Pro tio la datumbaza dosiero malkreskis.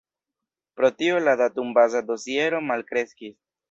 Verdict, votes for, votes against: rejected, 0, 2